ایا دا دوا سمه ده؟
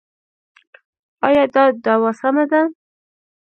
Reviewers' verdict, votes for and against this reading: rejected, 1, 2